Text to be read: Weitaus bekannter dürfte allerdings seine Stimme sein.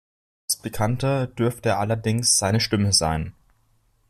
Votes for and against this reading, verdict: 0, 2, rejected